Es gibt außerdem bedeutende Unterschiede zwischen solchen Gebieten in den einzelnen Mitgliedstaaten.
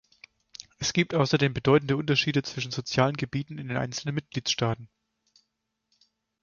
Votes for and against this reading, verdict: 0, 4, rejected